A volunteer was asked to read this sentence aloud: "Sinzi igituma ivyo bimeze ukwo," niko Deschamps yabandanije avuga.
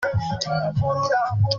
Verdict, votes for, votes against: rejected, 0, 2